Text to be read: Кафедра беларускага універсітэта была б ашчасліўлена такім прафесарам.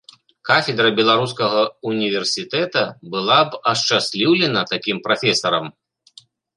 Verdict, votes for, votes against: accepted, 2, 0